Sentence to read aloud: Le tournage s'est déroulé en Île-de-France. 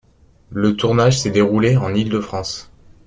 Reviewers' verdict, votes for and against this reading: accepted, 2, 0